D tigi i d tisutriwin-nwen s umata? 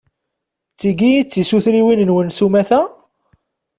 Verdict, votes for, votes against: accepted, 2, 0